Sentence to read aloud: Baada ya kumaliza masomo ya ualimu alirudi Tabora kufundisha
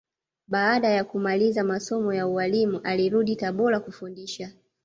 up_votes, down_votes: 2, 0